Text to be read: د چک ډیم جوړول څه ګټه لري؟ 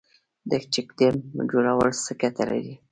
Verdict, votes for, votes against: rejected, 1, 2